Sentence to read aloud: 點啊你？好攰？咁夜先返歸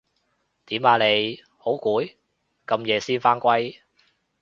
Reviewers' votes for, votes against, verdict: 2, 0, accepted